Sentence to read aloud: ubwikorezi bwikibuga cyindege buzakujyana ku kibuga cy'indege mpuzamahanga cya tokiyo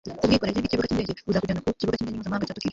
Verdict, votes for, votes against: rejected, 0, 2